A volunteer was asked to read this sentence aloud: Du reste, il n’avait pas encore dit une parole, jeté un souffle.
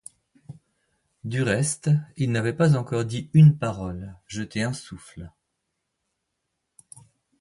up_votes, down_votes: 2, 0